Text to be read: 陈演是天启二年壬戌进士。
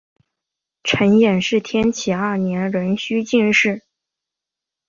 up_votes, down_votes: 3, 1